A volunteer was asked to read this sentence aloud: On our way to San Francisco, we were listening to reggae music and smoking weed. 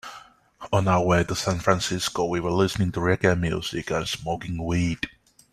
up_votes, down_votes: 2, 0